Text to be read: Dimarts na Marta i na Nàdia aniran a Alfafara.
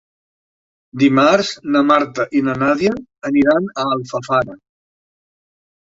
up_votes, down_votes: 3, 1